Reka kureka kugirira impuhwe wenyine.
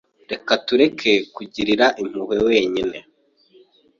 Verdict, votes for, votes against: rejected, 0, 2